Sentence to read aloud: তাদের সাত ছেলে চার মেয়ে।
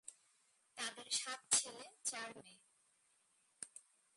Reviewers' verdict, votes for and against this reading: rejected, 1, 3